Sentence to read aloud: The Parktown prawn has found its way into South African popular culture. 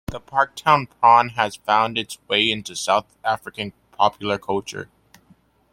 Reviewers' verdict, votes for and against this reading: accepted, 2, 0